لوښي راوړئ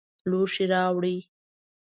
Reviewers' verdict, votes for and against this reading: accepted, 2, 0